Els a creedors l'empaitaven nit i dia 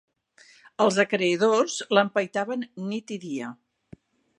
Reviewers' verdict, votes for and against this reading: accepted, 2, 0